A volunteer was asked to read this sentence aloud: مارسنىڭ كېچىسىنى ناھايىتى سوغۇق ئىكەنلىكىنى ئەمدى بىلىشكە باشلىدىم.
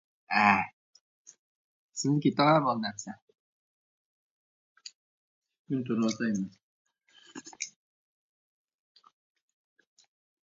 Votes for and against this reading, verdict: 0, 2, rejected